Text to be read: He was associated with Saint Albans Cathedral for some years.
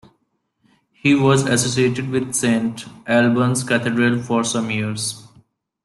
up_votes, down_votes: 0, 2